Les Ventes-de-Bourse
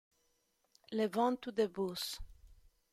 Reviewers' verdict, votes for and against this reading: rejected, 1, 2